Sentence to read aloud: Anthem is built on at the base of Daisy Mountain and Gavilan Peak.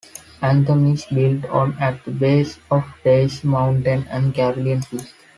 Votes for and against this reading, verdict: 0, 3, rejected